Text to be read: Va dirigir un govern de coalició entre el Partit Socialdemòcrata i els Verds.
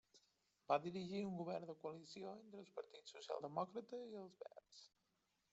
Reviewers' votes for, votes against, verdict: 1, 2, rejected